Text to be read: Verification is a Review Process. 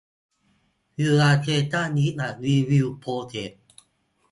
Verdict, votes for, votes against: rejected, 2, 4